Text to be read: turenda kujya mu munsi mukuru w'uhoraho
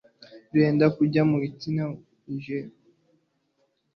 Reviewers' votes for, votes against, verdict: 1, 2, rejected